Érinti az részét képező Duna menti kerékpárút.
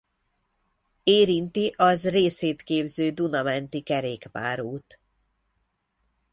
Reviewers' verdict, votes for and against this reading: rejected, 0, 2